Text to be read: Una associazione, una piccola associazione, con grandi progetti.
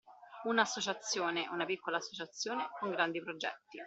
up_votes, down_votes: 2, 0